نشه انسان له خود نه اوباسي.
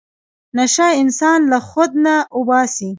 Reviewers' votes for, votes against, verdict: 2, 1, accepted